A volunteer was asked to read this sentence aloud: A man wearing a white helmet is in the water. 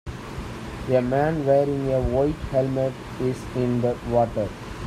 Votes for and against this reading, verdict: 2, 0, accepted